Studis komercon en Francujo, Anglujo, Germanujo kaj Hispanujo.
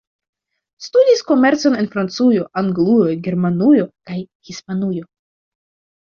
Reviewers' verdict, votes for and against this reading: accepted, 2, 0